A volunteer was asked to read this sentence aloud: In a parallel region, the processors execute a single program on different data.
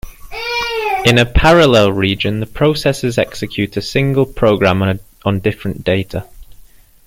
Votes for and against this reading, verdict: 1, 2, rejected